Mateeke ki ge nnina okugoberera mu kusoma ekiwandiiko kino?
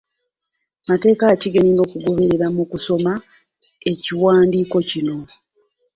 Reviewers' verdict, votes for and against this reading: rejected, 1, 2